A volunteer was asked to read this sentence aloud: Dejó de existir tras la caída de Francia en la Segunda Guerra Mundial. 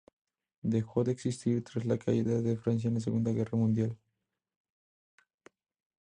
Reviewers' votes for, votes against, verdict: 4, 0, accepted